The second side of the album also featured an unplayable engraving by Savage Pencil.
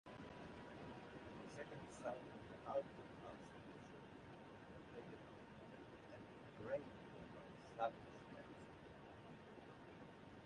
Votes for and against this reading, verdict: 0, 2, rejected